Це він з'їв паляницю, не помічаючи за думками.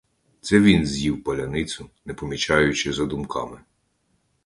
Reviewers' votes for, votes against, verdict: 2, 0, accepted